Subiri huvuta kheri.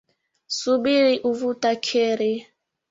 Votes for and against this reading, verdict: 1, 3, rejected